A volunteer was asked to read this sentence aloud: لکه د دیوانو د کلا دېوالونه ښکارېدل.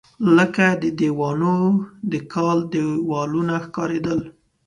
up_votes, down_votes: 1, 2